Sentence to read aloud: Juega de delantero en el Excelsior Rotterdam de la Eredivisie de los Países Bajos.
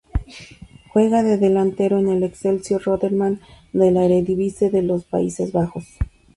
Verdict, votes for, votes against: rejected, 0, 2